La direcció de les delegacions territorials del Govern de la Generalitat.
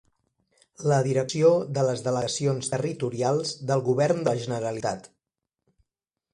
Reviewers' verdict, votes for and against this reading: accepted, 2, 0